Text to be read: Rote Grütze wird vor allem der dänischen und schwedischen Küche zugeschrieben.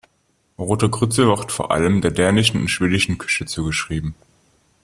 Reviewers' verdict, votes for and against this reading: accepted, 2, 0